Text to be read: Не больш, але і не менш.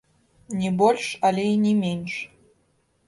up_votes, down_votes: 1, 2